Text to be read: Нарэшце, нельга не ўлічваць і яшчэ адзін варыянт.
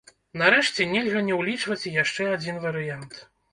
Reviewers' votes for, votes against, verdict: 1, 2, rejected